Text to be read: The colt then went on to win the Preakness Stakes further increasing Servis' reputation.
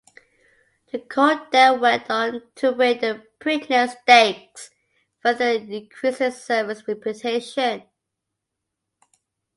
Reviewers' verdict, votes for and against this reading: accepted, 2, 0